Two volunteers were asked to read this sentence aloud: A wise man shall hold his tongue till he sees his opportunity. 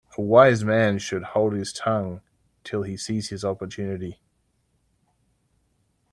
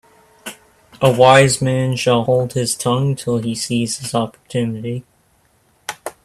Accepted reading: second